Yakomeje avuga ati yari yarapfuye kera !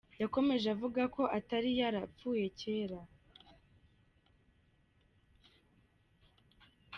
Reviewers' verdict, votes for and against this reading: rejected, 1, 2